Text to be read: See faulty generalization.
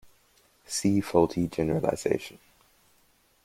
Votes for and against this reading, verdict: 2, 0, accepted